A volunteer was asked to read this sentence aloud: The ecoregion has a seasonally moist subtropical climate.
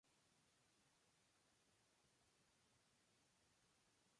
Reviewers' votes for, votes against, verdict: 0, 2, rejected